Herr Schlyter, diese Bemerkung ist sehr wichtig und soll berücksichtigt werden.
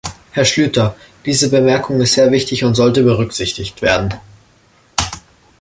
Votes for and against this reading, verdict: 1, 2, rejected